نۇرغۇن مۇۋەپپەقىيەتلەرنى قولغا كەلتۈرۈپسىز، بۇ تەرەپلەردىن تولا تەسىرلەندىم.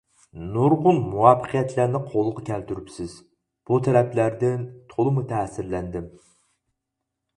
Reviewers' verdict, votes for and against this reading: rejected, 0, 4